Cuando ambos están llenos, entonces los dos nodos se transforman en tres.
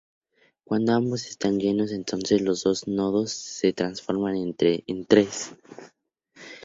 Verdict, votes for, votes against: rejected, 0, 2